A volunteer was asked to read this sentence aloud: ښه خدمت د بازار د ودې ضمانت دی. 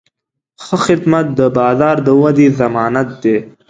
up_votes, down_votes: 2, 0